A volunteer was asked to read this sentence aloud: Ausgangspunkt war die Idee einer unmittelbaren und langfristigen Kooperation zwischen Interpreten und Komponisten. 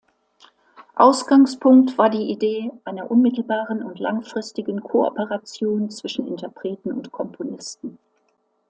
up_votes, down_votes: 2, 0